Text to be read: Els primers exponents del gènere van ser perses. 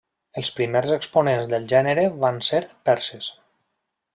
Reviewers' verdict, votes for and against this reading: accepted, 3, 1